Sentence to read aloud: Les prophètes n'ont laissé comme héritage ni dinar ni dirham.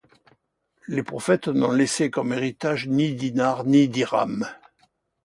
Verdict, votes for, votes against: accepted, 2, 0